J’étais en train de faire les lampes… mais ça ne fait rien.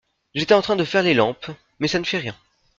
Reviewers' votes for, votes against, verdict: 2, 0, accepted